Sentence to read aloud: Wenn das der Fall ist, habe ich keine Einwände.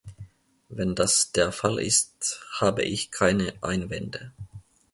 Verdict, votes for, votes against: accepted, 2, 0